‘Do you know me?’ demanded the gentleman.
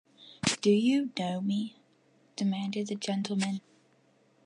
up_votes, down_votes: 2, 0